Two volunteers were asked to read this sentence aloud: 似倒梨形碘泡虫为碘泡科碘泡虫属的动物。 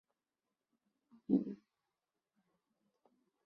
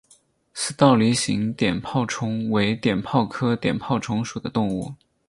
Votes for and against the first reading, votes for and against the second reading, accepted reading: 0, 2, 4, 2, second